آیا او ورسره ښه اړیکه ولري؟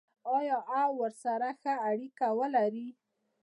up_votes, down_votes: 0, 2